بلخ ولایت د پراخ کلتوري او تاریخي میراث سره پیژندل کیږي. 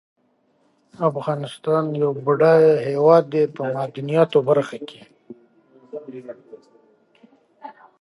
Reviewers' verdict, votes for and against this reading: rejected, 0, 2